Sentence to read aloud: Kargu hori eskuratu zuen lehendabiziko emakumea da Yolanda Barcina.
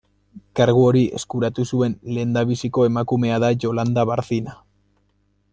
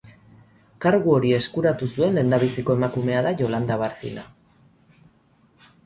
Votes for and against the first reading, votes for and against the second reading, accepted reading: 2, 0, 0, 2, first